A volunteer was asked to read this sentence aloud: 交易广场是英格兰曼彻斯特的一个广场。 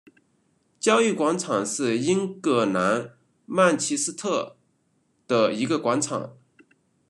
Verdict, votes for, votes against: rejected, 1, 2